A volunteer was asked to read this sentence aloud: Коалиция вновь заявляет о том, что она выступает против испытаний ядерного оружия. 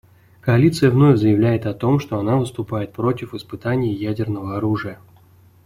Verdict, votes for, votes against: accepted, 2, 0